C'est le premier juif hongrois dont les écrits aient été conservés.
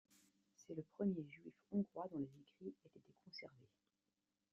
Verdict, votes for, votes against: rejected, 0, 2